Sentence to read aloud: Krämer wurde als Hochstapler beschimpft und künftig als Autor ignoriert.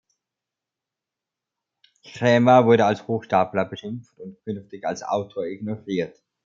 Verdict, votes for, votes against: accepted, 2, 0